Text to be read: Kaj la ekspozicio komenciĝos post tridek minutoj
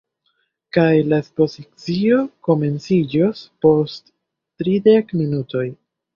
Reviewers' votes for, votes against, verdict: 1, 2, rejected